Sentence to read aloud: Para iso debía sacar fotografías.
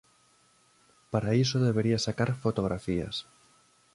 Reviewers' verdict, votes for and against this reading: rejected, 0, 2